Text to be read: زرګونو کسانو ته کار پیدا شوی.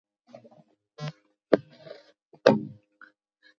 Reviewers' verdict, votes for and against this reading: rejected, 0, 2